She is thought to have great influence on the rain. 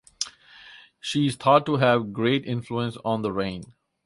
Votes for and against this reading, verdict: 4, 0, accepted